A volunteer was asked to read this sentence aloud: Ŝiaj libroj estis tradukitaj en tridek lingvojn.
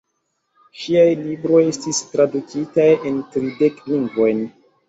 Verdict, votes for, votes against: accepted, 2, 1